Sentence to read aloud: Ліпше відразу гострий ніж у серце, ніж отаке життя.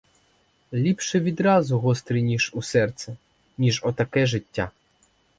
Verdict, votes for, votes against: accepted, 4, 0